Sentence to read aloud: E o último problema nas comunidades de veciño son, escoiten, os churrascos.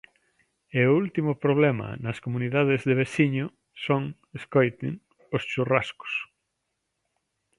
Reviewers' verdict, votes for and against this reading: accepted, 2, 0